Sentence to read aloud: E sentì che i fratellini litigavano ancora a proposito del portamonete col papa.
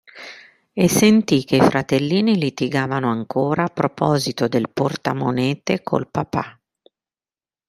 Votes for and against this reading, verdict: 2, 1, accepted